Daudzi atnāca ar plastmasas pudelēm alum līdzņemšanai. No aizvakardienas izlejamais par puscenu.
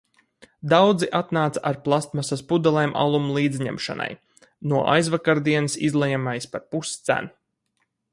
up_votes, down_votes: 4, 0